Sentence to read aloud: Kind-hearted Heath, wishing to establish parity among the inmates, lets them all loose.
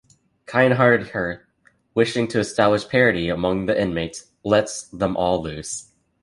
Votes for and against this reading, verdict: 0, 2, rejected